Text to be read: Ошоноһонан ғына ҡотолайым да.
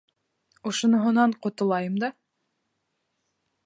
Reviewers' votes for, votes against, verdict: 1, 2, rejected